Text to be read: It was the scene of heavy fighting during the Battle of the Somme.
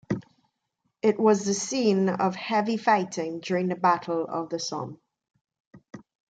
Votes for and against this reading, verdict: 2, 0, accepted